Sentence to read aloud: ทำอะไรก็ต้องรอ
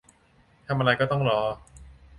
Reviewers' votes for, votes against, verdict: 2, 0, accepted